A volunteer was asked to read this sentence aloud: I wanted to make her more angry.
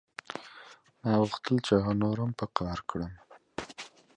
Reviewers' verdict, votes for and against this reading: rejected, 0, 2